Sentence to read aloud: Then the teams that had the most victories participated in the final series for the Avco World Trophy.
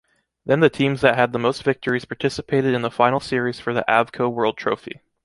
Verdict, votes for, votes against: accepted, 2, 0